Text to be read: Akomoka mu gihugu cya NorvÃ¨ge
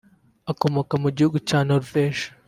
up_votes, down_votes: 2, 0